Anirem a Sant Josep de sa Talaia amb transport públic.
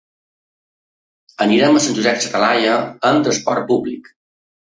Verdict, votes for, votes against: rejected, 0, 2